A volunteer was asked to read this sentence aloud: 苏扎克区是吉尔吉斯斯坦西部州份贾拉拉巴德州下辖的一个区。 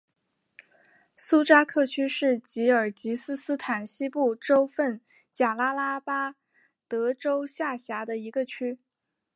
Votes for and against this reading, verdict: 2, 0, accepted